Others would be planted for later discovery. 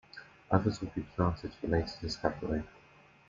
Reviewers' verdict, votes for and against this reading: accepted, 2, 0